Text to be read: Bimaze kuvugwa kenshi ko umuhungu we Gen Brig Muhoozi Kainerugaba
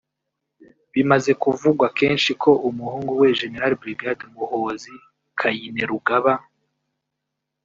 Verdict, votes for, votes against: rejected, 0, 2